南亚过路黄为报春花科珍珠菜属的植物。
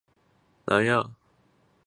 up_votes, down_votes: 0, 3